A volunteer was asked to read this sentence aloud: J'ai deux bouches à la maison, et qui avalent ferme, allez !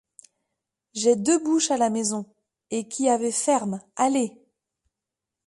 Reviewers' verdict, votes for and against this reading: rejected, 0, 2